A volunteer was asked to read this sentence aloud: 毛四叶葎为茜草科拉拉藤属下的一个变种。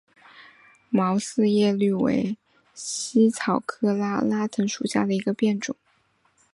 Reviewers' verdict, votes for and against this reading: accepted, 2, 0